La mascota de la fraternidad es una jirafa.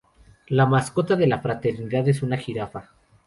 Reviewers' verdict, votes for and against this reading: accepted, 4, 0